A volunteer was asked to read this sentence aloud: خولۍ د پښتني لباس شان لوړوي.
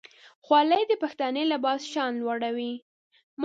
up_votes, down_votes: 2, 0